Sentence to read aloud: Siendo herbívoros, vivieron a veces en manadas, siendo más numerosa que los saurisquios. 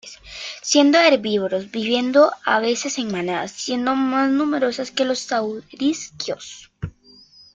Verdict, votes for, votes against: accepted, 2, 0